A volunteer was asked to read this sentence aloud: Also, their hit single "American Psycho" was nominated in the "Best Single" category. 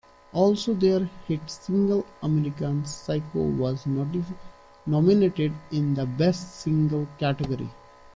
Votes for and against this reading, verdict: 0, 2, rejected